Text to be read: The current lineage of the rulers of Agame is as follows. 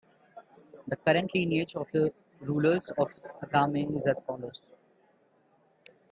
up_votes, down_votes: 2, 1